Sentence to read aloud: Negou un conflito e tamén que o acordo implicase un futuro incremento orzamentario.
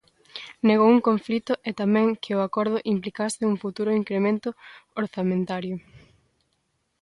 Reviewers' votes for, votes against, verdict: 2, 0, accepted